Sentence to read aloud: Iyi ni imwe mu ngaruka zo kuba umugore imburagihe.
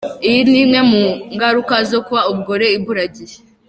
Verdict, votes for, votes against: accepted, 2, 0